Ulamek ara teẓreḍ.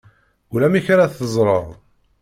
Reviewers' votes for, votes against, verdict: 2, 1, accepted